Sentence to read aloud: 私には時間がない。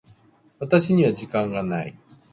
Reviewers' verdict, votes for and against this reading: accepted, 2, 1